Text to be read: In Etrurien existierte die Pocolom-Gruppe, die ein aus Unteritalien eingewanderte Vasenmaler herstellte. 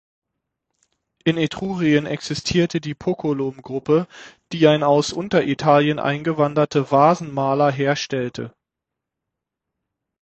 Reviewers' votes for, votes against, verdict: 6, 0, accepted